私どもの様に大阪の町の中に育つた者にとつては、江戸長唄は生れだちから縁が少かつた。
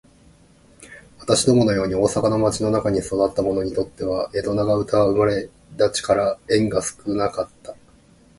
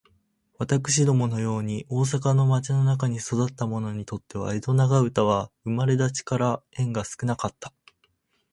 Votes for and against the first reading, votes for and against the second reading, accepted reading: 1, 2, 4, 2, second